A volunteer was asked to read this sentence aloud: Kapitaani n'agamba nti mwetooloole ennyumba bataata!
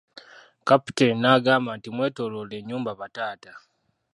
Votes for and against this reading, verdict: 1, 2, rejected